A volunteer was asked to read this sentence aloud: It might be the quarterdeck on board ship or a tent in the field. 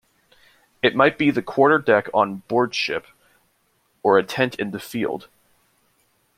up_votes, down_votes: 2, 0